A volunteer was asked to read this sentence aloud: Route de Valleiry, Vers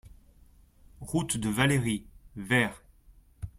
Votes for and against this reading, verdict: 3, 0, accepted